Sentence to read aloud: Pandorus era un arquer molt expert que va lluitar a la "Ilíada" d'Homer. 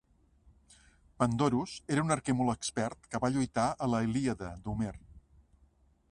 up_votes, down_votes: 2, 0